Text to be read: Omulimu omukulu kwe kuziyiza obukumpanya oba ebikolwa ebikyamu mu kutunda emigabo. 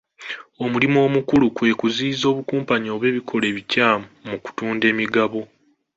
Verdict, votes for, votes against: rejected, 1, 2